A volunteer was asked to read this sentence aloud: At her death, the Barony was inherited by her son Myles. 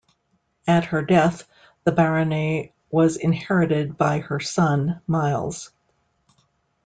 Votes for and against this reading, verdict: 2, 0, accepted